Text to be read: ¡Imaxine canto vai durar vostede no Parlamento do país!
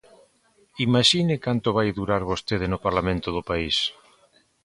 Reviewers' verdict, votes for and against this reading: accepted, 2, 0